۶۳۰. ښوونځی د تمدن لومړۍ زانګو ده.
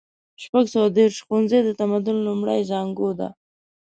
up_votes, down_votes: 0, 2